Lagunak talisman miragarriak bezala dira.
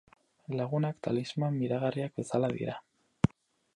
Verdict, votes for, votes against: accepted, 2, 0